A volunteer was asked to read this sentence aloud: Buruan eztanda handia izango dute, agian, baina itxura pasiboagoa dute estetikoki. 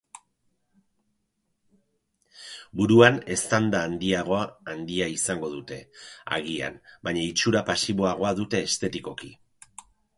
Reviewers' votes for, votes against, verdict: 0, 4, rejected